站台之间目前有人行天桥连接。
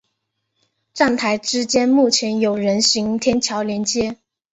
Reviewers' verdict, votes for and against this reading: accepted, 2, 0